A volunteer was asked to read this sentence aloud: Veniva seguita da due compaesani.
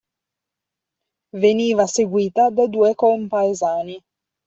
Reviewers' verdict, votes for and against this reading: accepted, 2, 0